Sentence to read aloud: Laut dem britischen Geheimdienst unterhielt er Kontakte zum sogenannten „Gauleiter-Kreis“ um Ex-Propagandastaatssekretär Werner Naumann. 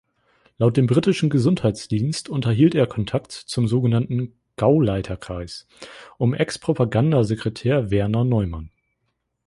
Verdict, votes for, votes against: rejected, 0, 2